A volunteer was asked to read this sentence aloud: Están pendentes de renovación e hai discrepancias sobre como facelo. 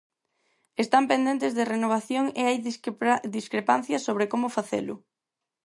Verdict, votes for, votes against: rejected, 0, 4